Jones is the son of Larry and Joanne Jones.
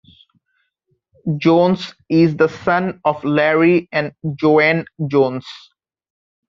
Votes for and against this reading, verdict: 2, 0, accepted